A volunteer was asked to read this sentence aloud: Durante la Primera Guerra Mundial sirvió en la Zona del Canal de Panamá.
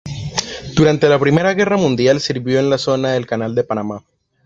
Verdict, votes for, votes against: accepted, 3, 0